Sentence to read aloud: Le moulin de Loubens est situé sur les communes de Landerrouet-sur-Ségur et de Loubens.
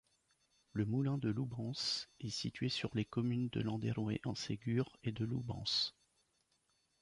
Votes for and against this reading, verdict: 1, 2, rejected